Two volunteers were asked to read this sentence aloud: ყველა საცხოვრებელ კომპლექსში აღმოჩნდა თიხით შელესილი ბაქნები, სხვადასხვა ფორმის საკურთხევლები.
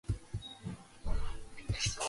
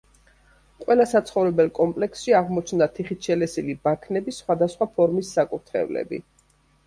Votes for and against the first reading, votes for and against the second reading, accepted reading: 0, 2, 2, 0, second